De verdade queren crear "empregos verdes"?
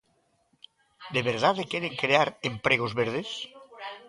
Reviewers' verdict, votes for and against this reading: rejected, 1, 2